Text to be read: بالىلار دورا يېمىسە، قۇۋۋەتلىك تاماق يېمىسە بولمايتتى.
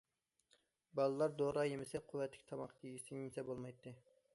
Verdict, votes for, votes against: rejected, 0, 2